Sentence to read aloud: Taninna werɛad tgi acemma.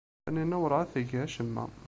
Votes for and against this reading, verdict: 0, 2, rejected